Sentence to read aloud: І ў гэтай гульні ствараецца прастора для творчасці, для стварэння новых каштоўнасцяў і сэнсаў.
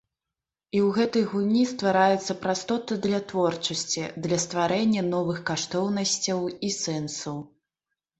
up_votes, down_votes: 0, 2